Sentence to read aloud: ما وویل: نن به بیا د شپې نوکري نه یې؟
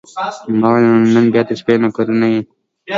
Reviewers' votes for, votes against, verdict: 2, 0, accepted